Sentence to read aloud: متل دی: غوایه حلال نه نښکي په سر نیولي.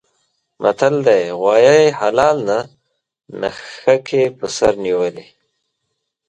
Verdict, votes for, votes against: rejected, 1, 2